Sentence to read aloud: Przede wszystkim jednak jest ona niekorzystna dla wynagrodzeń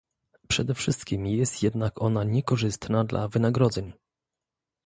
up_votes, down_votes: 0, 2